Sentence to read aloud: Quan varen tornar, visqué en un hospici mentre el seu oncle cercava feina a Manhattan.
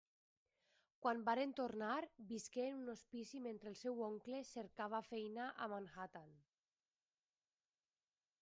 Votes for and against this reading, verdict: 0, 2, rejected